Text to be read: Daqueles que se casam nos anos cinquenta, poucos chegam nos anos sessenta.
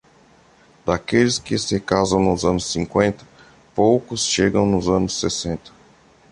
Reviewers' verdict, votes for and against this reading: accepted, 2, 0